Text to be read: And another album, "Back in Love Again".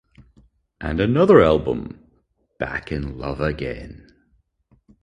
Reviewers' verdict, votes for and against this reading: accepted, 4, 0